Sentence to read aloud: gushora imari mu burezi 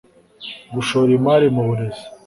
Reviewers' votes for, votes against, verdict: 0, 2, rejected